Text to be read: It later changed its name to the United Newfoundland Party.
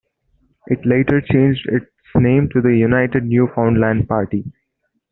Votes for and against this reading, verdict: 2, 1, accepted